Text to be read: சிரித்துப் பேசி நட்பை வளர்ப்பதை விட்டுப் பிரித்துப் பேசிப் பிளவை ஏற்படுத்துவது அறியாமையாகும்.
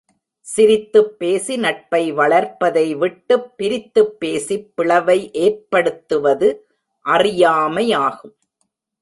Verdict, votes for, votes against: accepted, 2, 0